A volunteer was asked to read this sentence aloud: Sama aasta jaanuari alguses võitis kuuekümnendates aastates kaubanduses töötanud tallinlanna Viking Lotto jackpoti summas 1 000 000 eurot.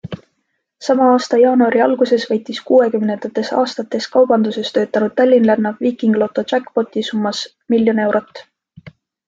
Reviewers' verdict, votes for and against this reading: rejected, 0, 2